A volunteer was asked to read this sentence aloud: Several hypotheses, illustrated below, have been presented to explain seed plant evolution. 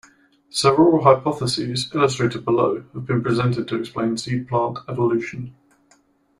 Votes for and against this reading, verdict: 2, 1, accepted